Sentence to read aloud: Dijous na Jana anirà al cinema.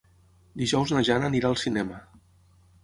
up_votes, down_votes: 9, 0